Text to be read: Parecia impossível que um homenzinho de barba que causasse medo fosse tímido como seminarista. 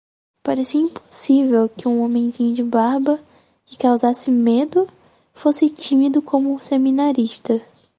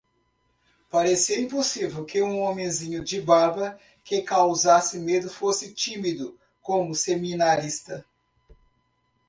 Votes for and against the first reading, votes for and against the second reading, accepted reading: 2, 2, 2, 0, second